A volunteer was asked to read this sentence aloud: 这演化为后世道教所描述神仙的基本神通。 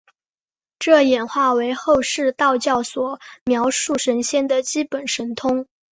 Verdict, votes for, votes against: accepted, 6, 0